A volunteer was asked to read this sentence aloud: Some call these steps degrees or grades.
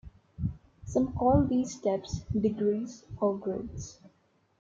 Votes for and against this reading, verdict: 2, 0, accepted